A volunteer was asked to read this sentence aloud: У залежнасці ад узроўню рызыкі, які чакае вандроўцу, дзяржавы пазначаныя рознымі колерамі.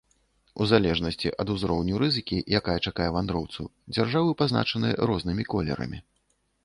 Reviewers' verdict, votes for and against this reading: rejected, 1, 2